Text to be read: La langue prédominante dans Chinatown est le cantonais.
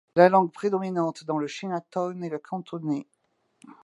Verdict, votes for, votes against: rejected, 1, 2